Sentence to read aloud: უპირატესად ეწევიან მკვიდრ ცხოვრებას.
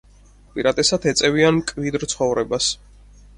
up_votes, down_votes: 4, 2